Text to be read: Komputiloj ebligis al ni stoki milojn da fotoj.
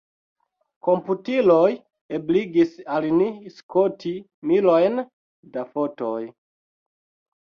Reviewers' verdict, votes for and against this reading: rejected, 1, 2